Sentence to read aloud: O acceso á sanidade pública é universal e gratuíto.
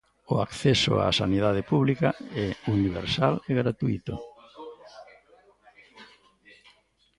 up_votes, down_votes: 3, 0